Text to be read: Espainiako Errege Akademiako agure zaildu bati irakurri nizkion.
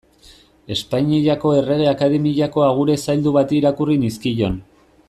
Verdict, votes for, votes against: rejected, 1, 2